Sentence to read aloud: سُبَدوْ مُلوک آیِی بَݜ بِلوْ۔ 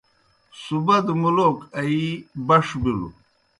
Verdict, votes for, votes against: accepted, 2, 0